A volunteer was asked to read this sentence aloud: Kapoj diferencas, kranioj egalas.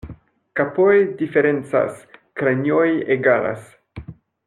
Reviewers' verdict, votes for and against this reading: rejected, 0, 2